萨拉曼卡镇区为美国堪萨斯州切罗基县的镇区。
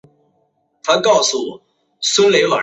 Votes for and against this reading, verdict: 0, 2, rejected